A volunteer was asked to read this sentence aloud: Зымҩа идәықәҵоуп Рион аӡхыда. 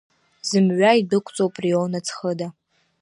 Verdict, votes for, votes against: accepted, 2, 0